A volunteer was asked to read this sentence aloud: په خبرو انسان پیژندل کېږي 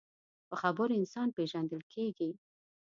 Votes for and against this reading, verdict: 2, 0, accepted